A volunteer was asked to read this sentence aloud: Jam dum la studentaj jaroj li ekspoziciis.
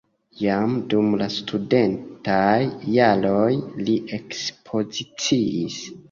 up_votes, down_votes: 2, 0